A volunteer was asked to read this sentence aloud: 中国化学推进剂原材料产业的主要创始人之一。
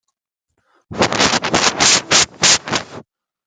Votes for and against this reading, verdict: 0, 2, rejected